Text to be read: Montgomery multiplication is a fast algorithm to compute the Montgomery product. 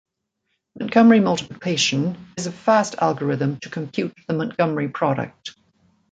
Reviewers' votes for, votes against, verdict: 2, 0, accepted